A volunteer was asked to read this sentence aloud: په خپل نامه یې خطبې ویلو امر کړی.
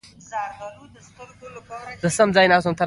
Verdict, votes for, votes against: accepted, 2, 0